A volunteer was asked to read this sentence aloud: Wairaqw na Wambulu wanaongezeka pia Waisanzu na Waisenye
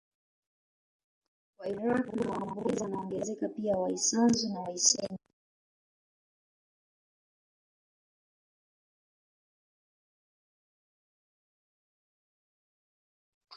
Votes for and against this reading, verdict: 0, 2, rejected